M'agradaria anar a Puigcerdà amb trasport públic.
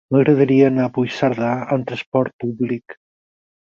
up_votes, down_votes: 6, 0